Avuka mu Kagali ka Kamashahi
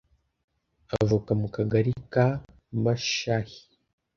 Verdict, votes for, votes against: rejected, 1, 2